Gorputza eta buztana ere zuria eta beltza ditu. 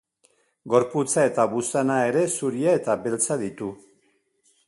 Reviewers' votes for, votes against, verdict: 6, 1, accepted